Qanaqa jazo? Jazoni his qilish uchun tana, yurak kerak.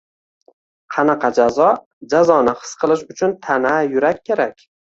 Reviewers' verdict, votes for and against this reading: accepted, 2, 0